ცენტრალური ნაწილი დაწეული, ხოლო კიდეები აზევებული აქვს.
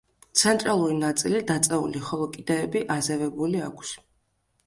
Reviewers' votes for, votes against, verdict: 2, 0, accepted